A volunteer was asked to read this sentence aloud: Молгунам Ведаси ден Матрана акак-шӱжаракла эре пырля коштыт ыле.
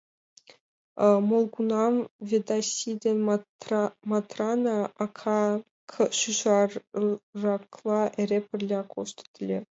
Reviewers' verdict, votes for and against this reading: rejected, 1, 2